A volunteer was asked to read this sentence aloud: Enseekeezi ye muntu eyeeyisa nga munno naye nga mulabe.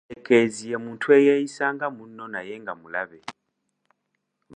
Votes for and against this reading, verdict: 0, 2, rejected